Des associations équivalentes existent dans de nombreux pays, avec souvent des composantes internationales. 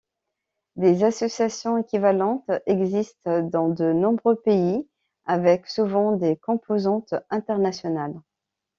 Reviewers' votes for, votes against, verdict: 2, 0, accepted